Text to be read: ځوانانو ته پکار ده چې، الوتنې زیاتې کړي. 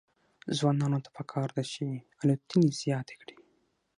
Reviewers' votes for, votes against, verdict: 0, 6, rejected